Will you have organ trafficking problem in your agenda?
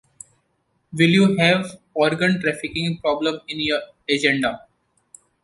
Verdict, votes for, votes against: rejected, 1, 2